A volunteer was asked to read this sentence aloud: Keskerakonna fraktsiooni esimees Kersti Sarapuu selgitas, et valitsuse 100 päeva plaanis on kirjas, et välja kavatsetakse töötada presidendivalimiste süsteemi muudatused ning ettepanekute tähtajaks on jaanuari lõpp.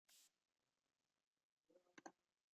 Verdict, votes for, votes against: rejected, 0, 2